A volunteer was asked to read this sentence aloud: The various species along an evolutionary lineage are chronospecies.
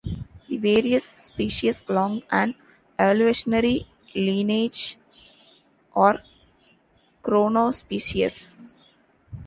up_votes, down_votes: 0, 2